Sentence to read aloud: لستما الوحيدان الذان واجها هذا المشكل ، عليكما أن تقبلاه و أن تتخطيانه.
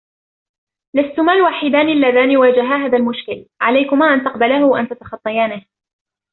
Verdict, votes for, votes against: accepted, 2, 0